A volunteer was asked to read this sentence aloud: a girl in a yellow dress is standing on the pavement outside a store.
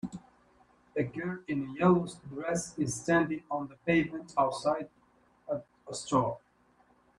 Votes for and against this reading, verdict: 0, 3, rejected